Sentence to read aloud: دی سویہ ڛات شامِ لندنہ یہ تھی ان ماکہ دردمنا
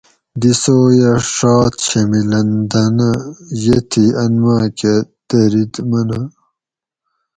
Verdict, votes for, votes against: rejected, 2, 2